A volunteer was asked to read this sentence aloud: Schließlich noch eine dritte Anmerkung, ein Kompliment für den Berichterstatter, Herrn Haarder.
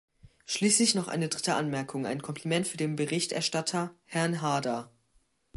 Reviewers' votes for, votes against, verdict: 2, 0, accepted